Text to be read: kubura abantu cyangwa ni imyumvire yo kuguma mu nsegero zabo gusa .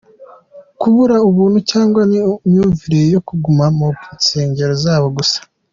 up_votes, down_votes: 2, 1